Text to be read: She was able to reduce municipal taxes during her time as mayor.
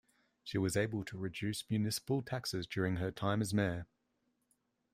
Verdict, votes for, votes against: accepted, 2, 0